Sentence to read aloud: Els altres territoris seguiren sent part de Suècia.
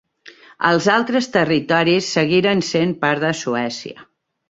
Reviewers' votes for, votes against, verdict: 3, 0, accepted